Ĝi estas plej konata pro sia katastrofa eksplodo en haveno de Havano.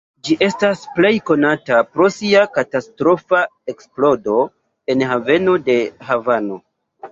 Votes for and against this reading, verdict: 1, 2, rejected